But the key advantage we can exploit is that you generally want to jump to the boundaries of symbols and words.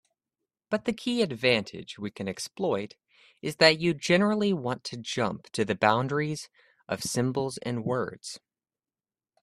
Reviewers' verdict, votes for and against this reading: accepted, 2, 0